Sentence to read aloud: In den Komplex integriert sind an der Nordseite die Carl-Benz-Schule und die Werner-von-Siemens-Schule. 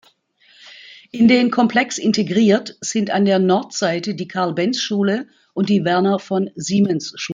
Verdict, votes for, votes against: rejected, 0, 2